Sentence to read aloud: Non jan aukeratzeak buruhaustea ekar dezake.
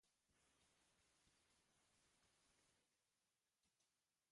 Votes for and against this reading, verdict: 0, 2, rejected